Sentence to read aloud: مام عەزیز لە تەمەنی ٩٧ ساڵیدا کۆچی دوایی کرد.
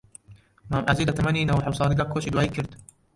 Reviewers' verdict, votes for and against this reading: rejected, 0, 2